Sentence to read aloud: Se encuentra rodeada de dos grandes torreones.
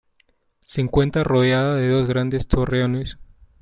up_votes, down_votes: 2, 0